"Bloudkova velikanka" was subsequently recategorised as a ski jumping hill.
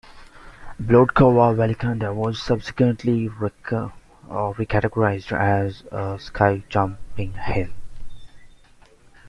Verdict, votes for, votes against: rejected, 0, 2